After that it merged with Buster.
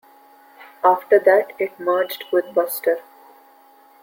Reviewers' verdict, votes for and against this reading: accepted, 2, 0